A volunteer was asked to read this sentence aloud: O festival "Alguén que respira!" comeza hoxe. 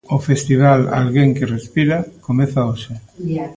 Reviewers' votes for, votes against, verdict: 2, 0, accepted